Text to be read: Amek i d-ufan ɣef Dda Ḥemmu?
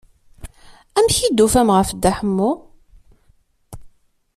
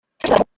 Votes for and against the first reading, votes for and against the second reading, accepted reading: 2, 0, 0, 2, first